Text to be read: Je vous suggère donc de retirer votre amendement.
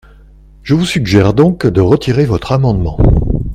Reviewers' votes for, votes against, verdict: 2, 0, accepted